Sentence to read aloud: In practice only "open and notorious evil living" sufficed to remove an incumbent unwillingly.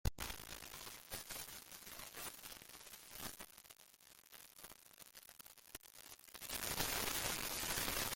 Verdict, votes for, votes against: rejected, 0, 2